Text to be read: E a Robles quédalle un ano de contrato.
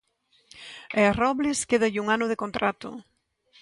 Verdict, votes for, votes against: accepted, 2, 0